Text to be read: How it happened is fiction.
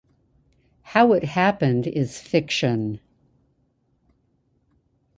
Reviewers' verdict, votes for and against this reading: accepted, 2, 0